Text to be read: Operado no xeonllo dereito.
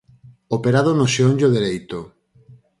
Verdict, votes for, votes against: accepted, 4, 0